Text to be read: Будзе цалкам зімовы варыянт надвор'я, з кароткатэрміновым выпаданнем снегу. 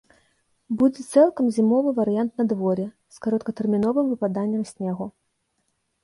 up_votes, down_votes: 2, 1